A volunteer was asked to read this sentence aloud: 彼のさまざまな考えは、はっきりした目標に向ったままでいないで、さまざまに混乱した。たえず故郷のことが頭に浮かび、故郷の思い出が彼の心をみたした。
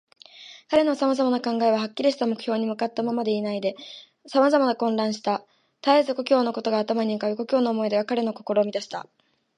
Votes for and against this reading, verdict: 7, 7, rejected